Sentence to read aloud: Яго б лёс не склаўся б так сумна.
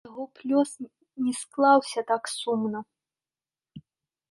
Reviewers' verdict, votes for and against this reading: rejected, 1, 2